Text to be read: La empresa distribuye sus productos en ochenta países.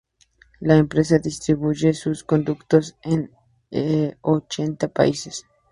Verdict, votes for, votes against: accepted, 2, 0